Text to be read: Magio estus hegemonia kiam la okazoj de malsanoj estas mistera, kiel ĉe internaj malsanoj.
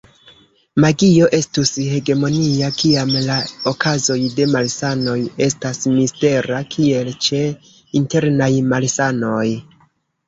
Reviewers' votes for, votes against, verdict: 2, 0, accepted